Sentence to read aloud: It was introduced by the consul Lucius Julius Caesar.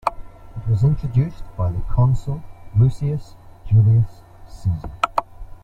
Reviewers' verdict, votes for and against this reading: rejected, 1, 2